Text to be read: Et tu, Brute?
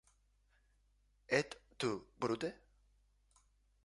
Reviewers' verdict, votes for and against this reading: rejected, 0, 2